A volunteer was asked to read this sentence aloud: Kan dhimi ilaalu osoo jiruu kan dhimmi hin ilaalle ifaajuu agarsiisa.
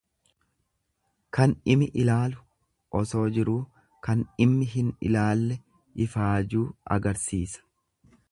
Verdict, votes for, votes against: accepted, 2, 0